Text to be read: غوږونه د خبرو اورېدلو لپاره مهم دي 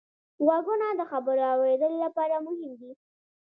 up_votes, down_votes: 2, 0